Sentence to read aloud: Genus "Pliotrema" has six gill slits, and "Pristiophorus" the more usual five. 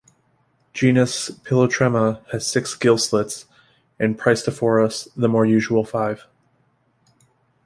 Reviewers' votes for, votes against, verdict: 1, 2, rejected